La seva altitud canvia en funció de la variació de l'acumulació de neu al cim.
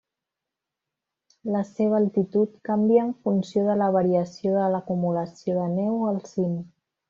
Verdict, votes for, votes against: accepted, 3, 0